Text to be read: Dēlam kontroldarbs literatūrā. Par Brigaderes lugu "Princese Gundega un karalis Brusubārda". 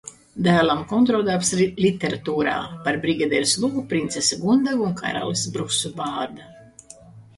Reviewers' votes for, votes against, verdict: 0, 2, rejected